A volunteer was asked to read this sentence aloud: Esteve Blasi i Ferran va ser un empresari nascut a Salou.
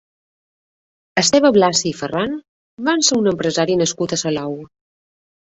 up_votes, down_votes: 1, 2